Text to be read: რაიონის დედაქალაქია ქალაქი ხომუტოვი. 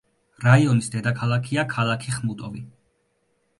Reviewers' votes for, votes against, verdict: 0, 2, rejected